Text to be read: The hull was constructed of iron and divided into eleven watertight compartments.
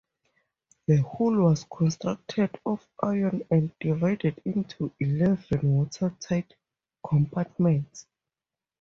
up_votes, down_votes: 2, 2